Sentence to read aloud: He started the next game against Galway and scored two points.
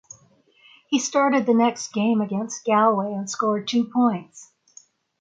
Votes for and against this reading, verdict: 6, 0, accepted